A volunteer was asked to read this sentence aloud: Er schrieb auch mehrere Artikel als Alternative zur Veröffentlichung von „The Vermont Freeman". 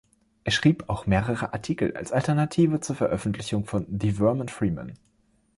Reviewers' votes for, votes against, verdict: 1, 2, rejected